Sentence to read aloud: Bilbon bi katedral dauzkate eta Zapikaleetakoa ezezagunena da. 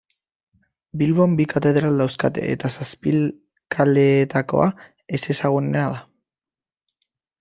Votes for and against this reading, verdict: 1, 3, rejected